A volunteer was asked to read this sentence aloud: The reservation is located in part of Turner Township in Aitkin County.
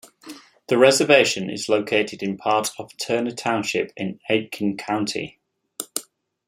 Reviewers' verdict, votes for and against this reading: accepted, 2, 0